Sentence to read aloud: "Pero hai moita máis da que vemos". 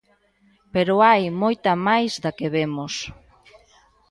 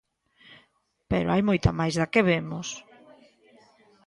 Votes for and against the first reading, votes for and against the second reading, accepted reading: 1, 2, 2, 0, second